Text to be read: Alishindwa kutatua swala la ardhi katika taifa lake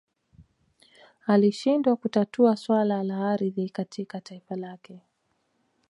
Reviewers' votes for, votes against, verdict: 1, 2, rejected